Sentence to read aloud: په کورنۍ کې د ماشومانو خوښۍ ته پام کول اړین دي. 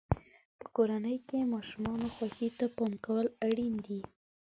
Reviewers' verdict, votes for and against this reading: rejected, 0, 2